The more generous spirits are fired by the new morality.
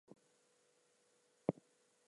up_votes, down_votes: 0, 2